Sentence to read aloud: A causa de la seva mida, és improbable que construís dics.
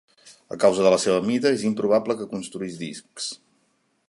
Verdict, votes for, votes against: rejected, 0, 2